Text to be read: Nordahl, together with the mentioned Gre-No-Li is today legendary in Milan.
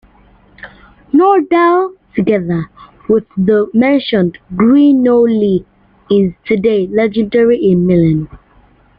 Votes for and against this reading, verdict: 2, 0, accepted